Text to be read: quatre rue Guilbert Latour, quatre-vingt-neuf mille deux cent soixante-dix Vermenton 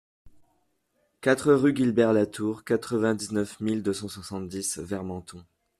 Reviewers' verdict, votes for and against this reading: rejected, 0, 2